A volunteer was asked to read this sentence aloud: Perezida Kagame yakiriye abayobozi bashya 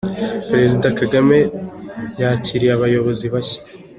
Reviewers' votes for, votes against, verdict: 2, 0, accepted